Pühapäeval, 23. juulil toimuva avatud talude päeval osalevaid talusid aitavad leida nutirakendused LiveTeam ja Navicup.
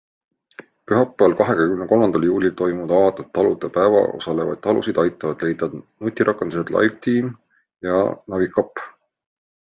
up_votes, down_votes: 0, 2